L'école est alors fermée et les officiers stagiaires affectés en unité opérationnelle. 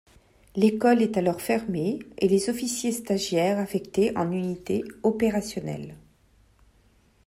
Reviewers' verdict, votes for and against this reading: accepted, 2, 0